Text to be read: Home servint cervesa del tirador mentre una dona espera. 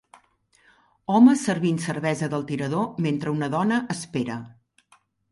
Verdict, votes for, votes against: rejected, 0, 2